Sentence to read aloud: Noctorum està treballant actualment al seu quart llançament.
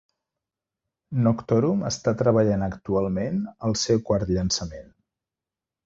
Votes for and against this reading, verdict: 2, 0, accepted